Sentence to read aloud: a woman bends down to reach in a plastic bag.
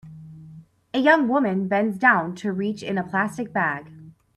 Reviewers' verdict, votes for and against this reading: rejected, 0, 3